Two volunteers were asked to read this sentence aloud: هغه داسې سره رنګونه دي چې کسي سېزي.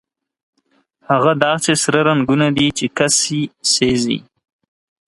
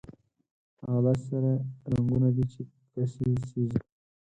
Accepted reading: first